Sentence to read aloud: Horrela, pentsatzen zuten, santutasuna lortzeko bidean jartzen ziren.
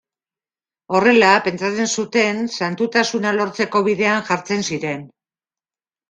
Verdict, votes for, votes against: accepted, 2, 0